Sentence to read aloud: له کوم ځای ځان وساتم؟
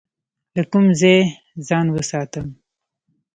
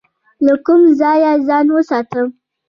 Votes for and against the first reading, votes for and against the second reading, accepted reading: 1, 2, 3, 0, second